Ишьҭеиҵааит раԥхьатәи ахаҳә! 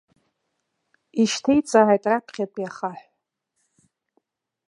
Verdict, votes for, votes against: accepted, 2, 0